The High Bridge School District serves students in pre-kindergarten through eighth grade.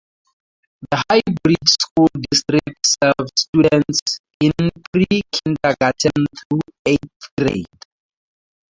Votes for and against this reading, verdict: 2, 0, accepted